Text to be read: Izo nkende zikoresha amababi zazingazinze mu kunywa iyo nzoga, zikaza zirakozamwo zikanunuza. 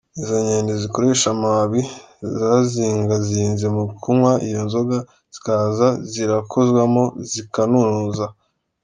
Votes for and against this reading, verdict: 2, 0, accepted